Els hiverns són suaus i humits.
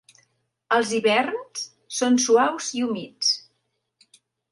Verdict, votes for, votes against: accepted, 3, 0